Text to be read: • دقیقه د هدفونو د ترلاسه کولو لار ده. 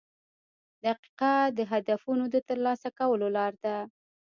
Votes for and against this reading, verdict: 1, 2, rejected